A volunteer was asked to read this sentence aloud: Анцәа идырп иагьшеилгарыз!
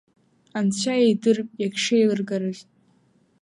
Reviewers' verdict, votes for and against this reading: rejected, 1, 2